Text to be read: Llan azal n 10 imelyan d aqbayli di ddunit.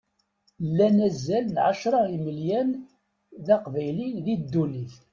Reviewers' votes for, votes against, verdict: 0, 2, rejected